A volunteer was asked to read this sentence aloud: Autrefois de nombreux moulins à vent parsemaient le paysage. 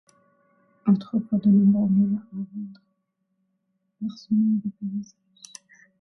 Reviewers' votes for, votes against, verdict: 0, 2, rejected